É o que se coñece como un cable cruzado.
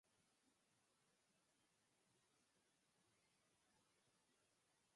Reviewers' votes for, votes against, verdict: 0, 4, rejected